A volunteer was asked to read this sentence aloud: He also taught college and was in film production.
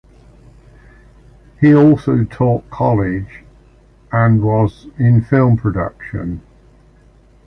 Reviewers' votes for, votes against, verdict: 2, 0, accepted